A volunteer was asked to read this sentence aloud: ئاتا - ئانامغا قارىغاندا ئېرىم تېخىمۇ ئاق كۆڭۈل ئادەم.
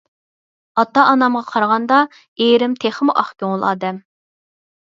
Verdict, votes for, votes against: accepted, 4, 0